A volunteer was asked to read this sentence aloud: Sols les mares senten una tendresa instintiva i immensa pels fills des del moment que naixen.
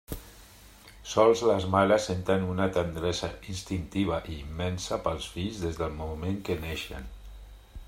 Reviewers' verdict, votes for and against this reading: rejected, 1, 2